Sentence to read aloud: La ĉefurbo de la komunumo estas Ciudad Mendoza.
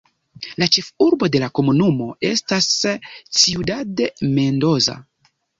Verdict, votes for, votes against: accepted, 2, 1